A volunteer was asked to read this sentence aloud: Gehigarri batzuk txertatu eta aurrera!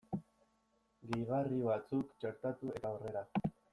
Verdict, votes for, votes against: accepted, 2, 0